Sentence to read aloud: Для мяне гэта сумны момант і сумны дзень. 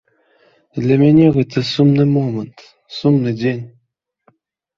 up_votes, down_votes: 0, 2